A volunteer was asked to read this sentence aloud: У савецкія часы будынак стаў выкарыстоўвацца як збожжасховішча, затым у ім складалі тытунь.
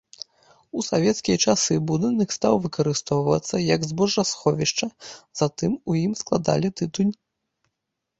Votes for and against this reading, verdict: 2, 0, accepted